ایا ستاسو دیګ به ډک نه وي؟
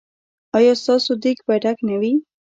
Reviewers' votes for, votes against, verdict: 0, 2, rejected